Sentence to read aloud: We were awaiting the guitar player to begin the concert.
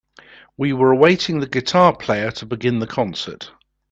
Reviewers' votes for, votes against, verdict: 2, 0, accepted